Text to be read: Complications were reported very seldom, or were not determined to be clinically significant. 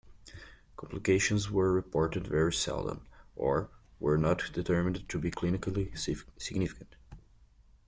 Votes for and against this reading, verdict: 1, 2, rejected